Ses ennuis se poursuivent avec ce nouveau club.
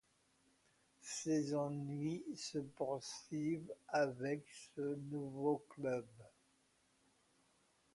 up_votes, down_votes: 2, 0